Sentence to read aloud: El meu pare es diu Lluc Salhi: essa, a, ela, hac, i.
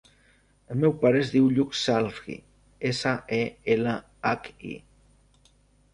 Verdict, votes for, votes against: rejected, 1, 2